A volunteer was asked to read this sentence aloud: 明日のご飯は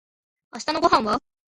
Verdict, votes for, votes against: rejected, 1, 2